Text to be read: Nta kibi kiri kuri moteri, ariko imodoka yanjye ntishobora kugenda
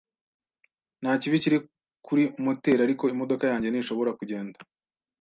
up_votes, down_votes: 2, 0